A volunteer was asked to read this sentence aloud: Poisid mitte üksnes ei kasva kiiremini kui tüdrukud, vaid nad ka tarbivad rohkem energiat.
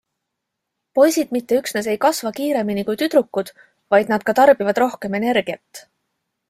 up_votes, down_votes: 2, 0